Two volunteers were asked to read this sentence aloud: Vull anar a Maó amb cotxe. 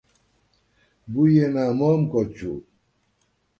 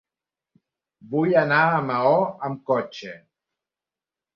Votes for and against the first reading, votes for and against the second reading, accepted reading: 1, 2, 3, 1, second